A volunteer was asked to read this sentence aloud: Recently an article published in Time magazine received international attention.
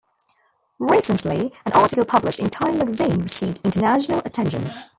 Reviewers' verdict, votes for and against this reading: rejected, 1, 2